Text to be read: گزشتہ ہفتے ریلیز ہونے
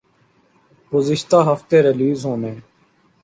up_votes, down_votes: 2, 0